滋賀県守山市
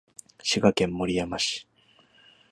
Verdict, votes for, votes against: accepted, 2, 0